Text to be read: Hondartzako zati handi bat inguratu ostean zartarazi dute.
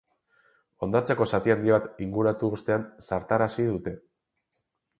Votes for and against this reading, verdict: 4, 0, accepted